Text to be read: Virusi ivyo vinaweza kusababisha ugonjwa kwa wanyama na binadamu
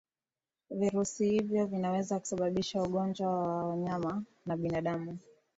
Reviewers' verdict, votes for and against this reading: accepted, 2, 0